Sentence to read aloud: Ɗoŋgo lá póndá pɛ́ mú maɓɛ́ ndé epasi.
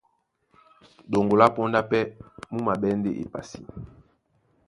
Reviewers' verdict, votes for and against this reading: accepted, 2, 0